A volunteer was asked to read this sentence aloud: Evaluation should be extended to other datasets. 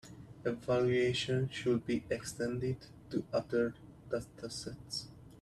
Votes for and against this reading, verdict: 1, 2, rejected